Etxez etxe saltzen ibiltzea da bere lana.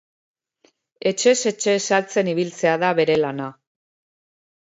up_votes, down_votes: 2, 0